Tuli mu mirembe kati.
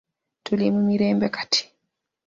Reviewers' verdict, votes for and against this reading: accepted, 2, 0